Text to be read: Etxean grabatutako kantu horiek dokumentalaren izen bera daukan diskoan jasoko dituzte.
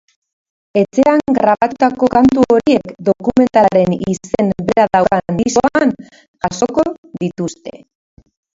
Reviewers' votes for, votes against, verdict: 1, 3, rejected